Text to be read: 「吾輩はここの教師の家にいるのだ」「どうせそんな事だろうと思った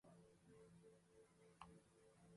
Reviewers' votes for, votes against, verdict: 0, 3, rejected